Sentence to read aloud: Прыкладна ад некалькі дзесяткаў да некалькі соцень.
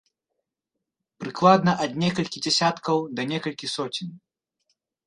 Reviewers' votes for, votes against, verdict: 3, 0, accepted